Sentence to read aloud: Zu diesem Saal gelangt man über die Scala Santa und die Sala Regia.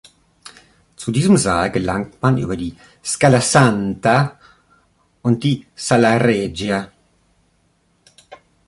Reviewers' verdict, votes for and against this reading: accepted, 3, 0